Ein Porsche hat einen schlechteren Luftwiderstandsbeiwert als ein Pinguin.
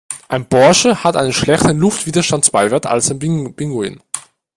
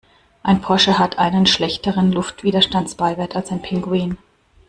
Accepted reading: second